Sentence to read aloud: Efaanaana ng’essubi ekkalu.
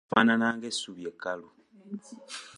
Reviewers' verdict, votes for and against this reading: rejected, 1, 2